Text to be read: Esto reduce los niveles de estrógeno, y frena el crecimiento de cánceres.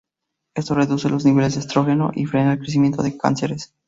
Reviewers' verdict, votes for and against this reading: accepted, 2, 0